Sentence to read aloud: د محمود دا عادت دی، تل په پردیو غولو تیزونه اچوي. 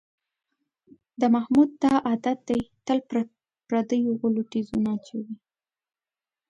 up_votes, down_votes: 2, 0